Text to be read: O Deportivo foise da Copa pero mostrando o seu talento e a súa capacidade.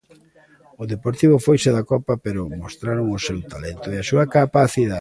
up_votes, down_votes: 0, 2